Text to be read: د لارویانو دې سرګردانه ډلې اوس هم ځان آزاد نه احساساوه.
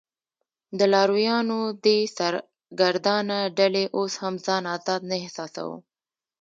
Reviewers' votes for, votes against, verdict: 2, 1, accepted